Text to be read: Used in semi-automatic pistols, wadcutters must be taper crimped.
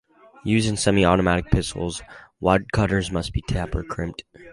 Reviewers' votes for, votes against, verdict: 2, 0, accepted